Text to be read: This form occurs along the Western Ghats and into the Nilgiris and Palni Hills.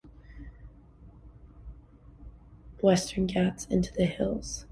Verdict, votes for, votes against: rejected, 0, 2